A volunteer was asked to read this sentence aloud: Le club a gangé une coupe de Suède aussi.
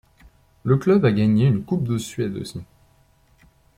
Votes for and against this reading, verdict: 2, 0, accepted